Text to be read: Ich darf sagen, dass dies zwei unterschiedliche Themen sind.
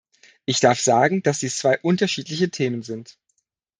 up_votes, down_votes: 2, 0